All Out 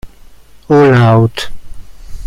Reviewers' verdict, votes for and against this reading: rejected, 1, 2